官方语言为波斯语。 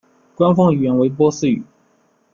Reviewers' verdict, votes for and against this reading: accepted, 2, 0